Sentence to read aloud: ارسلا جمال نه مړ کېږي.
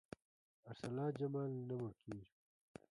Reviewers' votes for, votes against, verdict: 0, 2, rejected